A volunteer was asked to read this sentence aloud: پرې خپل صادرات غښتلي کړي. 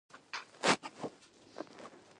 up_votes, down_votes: 0, 2